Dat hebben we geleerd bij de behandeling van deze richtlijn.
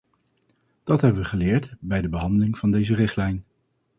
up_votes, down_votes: 4, 0